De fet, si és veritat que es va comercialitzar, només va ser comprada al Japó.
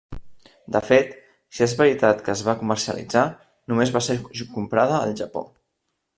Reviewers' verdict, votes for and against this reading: rejected, 1, 2